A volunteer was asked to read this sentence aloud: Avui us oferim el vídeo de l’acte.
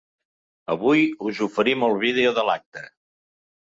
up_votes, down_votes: 3, 0